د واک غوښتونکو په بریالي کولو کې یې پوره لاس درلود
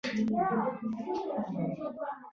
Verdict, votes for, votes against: rejected, 0, 2